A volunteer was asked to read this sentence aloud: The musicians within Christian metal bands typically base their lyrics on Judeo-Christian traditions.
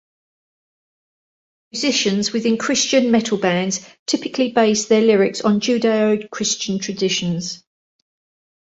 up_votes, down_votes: 1, 2